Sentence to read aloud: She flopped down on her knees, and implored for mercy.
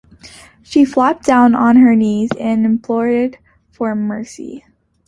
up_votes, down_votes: 2, 1